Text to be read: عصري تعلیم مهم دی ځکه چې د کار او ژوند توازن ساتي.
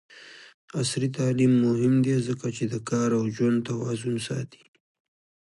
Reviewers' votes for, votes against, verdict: 2, 0, accepted